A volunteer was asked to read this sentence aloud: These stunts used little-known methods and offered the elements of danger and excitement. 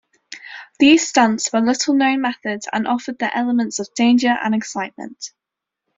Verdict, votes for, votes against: rejected, 0, 2